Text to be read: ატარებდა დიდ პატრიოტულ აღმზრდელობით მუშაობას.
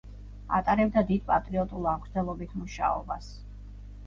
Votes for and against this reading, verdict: 2, 0, accepted